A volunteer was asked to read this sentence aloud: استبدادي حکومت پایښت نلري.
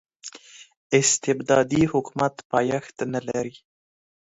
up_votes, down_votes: 2, 0